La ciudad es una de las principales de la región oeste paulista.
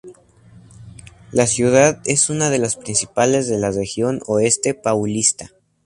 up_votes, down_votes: 2, 0